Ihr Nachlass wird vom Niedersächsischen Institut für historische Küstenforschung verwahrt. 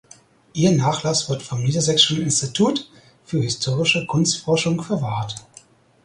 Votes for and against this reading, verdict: 0, 4, rejected